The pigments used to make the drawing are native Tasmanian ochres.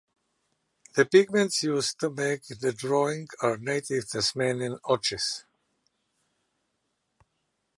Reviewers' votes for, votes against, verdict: 2, 0, accepted